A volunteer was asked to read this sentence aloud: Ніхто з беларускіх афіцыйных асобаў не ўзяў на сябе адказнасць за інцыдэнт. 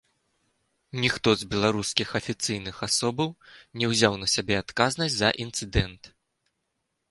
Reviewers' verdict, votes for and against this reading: accepted, 2, 0